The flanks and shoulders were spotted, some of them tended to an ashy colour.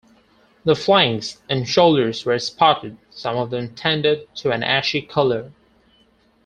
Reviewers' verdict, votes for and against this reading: accepted, 4, 0